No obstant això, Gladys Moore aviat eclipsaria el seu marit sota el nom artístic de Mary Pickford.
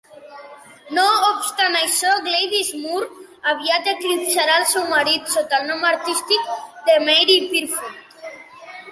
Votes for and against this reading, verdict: 1, 2, rejected